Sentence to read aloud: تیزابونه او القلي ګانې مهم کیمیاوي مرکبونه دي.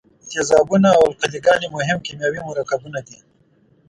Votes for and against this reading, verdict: 1, 2, rejected